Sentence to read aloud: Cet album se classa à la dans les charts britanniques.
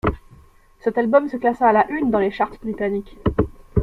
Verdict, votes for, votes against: rejected, 0, 2